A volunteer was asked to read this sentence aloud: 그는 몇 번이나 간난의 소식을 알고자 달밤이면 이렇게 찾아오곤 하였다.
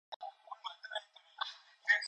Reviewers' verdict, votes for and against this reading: rejected, 0, 2